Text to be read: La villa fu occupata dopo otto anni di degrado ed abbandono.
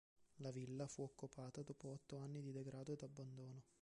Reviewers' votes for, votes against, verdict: 1, 2, rejected